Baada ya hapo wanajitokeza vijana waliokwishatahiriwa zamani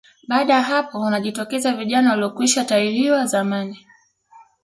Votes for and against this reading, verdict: 2, 1, accepted